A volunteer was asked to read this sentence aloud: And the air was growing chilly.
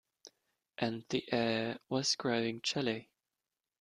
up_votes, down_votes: 2, 0